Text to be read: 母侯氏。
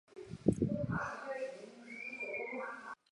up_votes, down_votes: 0, 2